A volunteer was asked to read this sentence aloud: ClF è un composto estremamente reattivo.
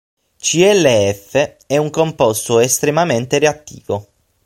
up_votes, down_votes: 3, 6